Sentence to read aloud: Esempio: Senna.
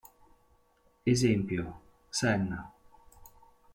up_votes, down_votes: 4, 1